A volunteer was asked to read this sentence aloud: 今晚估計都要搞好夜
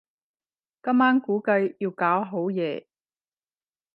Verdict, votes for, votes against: rejected, 0, 10